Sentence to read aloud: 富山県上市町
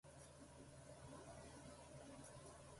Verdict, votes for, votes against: rejected, 0, 2